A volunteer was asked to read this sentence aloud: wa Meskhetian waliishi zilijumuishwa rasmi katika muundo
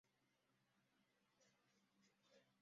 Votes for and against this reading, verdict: 0, 2, rejected